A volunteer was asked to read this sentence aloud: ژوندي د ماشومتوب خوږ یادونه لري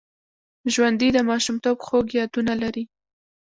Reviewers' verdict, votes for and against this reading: rejected, 1, 2